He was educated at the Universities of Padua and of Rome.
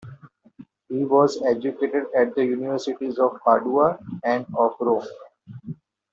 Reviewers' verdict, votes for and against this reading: accepted, 2, 0